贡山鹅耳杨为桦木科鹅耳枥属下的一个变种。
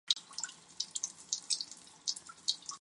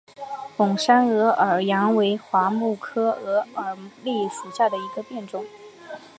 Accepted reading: second